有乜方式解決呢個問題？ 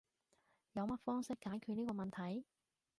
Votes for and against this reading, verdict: 2, 0, accepted